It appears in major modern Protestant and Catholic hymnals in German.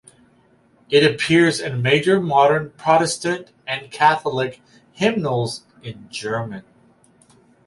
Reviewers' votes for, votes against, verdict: 2, 2, rejected